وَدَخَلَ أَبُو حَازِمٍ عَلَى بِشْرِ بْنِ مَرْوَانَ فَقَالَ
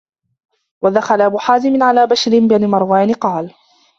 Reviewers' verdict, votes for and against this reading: rejected, 1, 2